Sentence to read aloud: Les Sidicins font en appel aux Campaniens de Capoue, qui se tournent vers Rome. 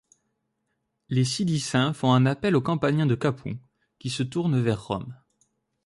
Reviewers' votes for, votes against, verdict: 0, 2, rejected